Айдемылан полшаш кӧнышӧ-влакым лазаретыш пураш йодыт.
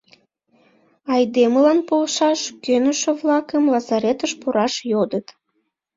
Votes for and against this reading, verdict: 2, 0, accepted